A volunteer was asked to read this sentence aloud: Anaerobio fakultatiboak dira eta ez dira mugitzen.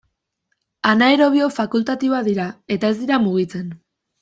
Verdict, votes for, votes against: accepted, 2, 0